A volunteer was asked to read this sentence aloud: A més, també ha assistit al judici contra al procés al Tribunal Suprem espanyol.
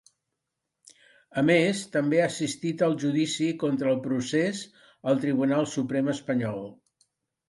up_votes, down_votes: 2, 0